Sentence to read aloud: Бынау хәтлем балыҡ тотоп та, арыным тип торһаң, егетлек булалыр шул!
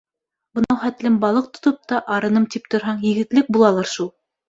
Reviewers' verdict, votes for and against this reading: accepted, 2, 1